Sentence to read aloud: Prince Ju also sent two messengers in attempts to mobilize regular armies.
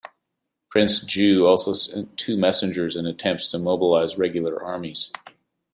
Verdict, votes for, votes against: accepted, 2, 0